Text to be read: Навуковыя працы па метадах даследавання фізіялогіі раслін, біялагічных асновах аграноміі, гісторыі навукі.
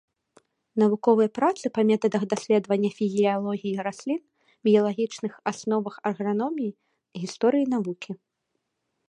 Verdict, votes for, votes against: accepted, 2, 0